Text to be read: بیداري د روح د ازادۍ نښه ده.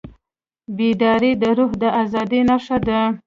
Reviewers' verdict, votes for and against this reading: rejected, 1, 2